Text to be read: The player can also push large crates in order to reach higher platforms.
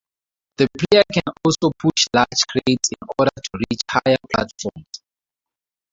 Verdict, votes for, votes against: rejected, 2, 2